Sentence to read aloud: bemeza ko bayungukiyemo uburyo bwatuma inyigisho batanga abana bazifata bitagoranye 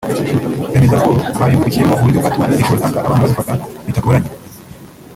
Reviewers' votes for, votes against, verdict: 1, 3, rejected